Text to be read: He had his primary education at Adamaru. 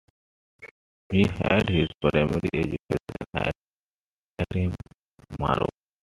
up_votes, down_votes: 0, 2